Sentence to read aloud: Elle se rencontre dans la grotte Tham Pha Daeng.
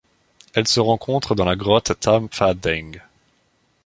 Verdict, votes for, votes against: accepted, 2, 1